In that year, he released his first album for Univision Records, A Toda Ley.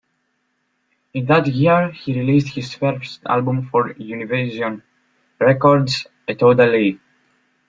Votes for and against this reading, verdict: 2, 0, accepted